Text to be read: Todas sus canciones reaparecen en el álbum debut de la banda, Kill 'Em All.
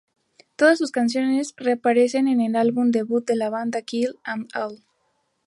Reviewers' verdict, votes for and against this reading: accepted, 2, 0